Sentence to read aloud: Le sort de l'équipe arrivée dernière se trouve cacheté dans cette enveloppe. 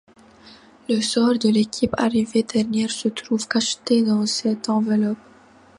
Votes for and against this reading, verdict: 2, 0, accepted